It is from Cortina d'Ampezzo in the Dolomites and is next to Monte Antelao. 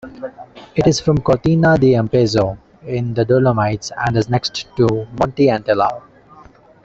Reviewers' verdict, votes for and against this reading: rejected, 0, 2